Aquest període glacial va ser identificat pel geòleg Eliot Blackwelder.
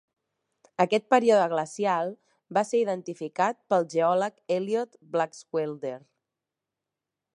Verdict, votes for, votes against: accepted, 5, 3